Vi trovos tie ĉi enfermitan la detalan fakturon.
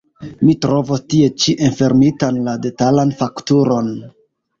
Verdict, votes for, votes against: rejected, 0, 2